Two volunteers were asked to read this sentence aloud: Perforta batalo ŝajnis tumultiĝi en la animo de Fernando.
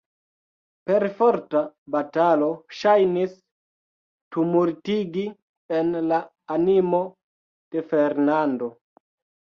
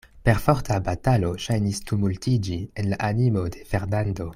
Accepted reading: second